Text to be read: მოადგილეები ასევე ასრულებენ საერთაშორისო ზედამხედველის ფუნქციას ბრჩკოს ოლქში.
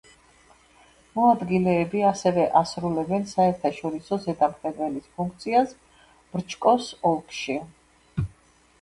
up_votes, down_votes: 2, 0